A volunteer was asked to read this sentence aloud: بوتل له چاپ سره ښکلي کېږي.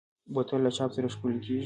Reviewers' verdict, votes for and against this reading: accepted, 2, 0